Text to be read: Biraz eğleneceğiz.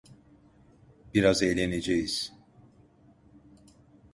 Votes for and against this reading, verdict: 2, 0, accepted